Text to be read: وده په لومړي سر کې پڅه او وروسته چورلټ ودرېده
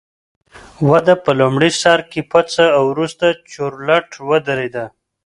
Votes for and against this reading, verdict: 2, 0, accepted